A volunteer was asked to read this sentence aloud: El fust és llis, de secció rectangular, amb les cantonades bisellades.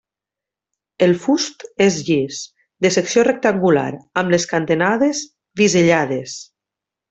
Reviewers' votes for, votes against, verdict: 1, 2, rejected